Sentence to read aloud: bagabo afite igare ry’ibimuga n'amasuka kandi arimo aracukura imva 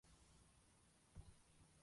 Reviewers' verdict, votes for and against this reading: rejected, 0, 2